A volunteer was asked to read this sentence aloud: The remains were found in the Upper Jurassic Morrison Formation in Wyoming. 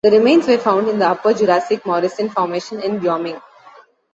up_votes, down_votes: 1, 2